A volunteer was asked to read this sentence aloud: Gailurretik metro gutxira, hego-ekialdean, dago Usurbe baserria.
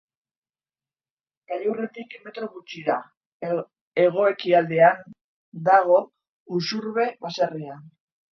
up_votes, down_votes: 0, 2